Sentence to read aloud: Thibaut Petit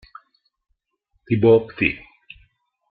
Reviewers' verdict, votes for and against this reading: rejected, 1, 2